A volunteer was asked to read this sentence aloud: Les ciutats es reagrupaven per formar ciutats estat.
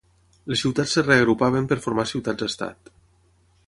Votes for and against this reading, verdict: 3, 3, rejected